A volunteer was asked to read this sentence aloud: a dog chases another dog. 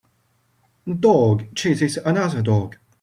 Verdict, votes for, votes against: accepted, 2, 0